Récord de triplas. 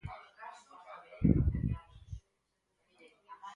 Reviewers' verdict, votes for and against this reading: rejected, 0, 4